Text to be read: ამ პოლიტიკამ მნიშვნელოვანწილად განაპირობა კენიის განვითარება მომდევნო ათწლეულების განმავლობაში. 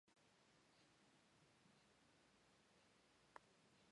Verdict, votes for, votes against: rejected, 1, 2